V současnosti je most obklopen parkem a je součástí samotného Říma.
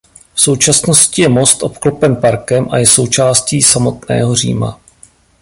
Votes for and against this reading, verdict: 2, 0, accepted